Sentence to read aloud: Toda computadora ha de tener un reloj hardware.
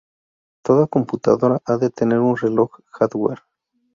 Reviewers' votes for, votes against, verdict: 2, 0, accepted